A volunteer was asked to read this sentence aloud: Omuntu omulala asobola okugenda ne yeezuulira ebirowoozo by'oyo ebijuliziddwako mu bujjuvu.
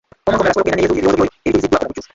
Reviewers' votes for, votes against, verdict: 0, 3, rejected